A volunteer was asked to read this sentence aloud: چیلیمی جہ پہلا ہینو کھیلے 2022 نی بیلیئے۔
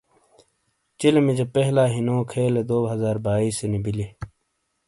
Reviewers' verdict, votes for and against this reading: rejected, 0, 2